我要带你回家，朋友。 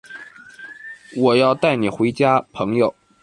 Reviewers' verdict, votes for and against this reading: accepted, 3, 0